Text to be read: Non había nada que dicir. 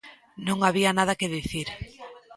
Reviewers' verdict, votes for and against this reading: rejected, 1, 3